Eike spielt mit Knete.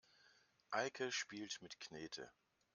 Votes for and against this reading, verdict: 2, 1, accepted